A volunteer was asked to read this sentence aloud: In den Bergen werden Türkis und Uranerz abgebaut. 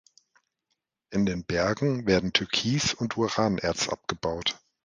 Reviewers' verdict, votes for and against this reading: accepted, 2, 0